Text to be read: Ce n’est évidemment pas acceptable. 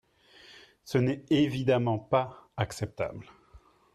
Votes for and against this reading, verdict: 3, 0, accepted